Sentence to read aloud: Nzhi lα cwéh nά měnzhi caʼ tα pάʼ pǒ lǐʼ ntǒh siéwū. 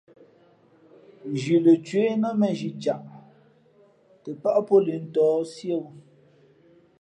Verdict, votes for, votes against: accepted, 2, 0